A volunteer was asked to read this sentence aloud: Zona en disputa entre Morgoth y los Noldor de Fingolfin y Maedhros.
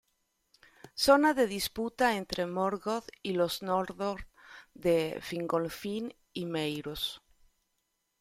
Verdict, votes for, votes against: rejected, 1, 2